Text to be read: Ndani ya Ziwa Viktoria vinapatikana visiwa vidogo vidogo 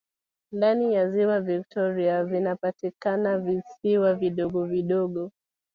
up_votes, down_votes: 1, 2